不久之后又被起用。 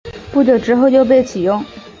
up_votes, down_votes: 3, 0